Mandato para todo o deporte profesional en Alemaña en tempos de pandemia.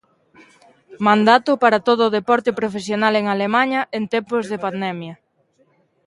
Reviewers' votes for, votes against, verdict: 2, 0, accepted